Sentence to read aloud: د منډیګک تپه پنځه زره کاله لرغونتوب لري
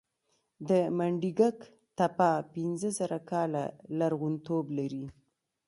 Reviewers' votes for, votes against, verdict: 2, 1, accepted